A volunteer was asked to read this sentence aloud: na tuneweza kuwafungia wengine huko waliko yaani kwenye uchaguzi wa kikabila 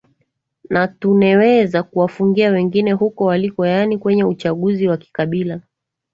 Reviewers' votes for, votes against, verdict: 2, 0, accepted